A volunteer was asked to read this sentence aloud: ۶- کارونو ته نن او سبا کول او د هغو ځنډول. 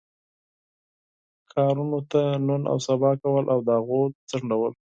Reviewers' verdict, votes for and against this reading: rejected, 0, 2